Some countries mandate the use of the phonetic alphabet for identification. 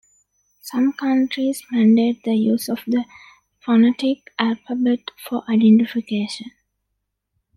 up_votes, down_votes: 2, 0